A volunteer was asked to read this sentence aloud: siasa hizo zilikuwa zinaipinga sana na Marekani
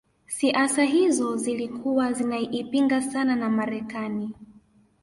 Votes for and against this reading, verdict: 2, 0, accepted